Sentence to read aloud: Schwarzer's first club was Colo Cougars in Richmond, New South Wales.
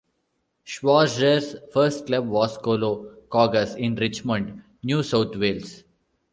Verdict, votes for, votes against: rejected, 1, 2